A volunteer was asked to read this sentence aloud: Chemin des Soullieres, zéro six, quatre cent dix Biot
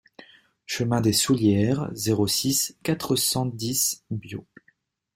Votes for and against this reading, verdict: 2, 1, accepted